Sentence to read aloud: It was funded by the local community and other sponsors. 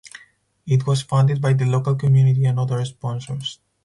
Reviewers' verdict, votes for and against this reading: rejected, 2, 2